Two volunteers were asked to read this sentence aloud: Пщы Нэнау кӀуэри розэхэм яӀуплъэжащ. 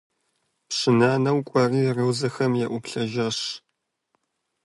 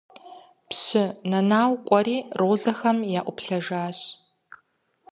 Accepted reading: second